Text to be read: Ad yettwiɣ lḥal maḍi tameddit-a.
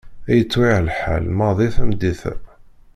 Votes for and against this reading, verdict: 1, 2, rejected